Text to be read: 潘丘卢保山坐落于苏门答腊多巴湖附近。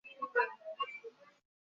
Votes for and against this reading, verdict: 0, 4, rejected